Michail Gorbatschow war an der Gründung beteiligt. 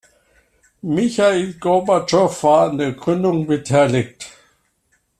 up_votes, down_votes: 2, 0